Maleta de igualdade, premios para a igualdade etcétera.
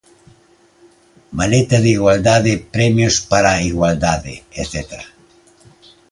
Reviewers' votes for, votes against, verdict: 2, 0, accepted